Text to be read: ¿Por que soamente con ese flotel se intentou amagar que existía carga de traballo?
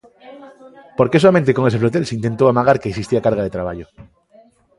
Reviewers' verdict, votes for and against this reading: accepted, 2, 0